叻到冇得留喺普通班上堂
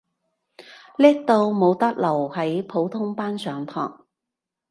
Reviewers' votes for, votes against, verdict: 2, 0, accepted